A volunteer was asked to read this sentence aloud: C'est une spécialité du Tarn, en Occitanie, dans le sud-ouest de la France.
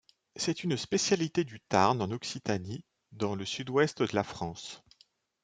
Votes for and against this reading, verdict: 2, 0, accepted